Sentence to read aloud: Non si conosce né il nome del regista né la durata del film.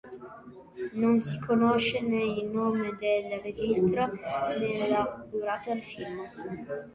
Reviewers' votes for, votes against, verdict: 1, 2, rejected